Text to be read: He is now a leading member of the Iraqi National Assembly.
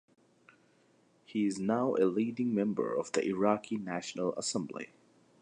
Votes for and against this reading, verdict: 2, 0, accepted